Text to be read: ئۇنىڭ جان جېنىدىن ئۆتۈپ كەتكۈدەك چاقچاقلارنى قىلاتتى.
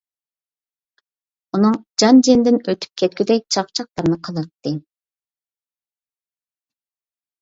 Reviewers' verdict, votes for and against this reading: accepted, 2, 0